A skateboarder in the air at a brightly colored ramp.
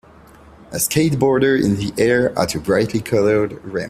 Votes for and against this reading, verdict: 1, 2, rejected